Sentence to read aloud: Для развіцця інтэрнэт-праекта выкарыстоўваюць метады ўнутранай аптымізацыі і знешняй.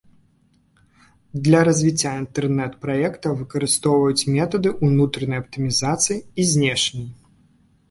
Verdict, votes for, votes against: accepted, 2, 0